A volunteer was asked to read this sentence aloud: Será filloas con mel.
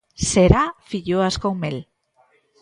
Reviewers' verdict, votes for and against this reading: accepted, 2, 0